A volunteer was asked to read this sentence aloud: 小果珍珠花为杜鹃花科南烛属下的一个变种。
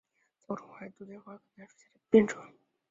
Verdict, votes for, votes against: rejected, 0, 5